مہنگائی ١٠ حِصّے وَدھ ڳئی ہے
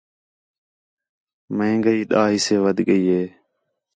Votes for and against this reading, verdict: 0, 2, rejected